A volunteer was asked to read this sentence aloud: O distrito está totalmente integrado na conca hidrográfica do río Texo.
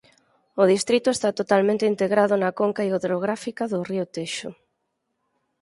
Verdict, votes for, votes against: rejected, 0, 4